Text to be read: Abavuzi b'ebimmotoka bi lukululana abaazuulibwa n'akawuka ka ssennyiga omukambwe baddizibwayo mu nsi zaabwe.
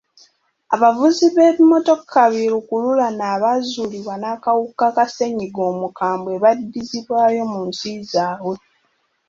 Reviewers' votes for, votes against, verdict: 2, 1, accepted